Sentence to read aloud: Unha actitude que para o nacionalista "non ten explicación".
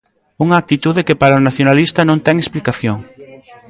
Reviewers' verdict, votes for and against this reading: rejected, 1, 2